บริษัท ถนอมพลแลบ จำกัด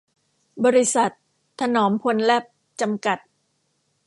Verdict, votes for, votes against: rejected, 1, 2